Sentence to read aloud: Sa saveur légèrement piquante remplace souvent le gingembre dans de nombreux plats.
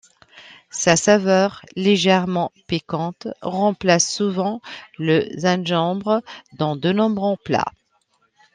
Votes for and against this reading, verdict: 1, 2, rejected